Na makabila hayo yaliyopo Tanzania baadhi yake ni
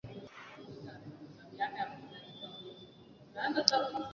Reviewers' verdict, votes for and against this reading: rejected, 0, 2